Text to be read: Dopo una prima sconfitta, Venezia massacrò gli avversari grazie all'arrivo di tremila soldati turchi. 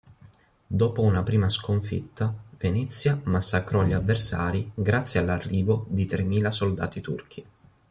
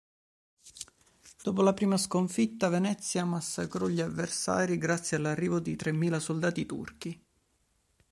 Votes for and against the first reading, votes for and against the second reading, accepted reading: 3, 0, 0, 2, first